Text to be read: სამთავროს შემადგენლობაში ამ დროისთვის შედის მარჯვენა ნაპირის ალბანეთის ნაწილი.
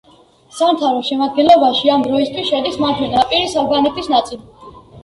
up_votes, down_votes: 1, 2